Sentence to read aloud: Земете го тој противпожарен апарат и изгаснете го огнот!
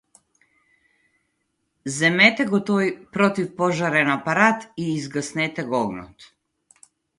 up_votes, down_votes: 2, 0